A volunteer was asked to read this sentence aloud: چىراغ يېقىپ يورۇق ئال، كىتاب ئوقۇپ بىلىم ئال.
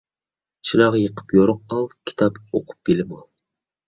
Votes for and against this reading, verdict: 2, 0, accepted